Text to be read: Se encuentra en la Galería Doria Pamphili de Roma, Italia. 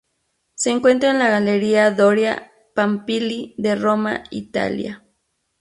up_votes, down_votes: 0, 2